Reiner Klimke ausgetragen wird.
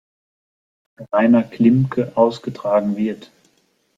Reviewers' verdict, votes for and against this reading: accepted, 2, 0